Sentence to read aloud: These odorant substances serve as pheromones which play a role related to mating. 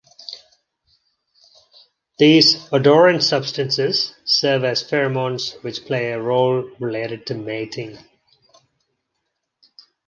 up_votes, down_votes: 2, 0